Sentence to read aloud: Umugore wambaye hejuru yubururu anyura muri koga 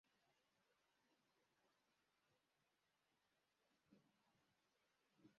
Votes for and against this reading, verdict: 0, 2, rejected